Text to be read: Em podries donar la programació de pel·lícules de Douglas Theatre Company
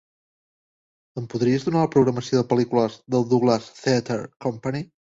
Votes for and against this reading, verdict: 2, 0, accepted